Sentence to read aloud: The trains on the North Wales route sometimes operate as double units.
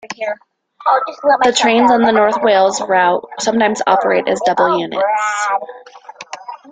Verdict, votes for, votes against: rejected, 0, 2